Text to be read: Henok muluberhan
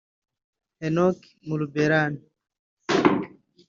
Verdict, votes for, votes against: accepted, 2, 0